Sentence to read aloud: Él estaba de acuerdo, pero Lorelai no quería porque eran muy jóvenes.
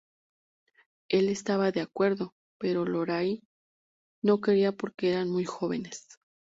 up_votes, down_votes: 0, 2